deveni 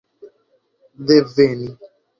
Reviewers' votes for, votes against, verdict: 1, 2, rejected